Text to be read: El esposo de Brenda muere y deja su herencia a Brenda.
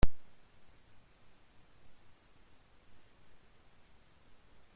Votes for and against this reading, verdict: 0, 2, rejected